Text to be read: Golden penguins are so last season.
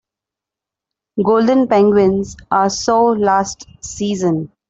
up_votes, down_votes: 2, 0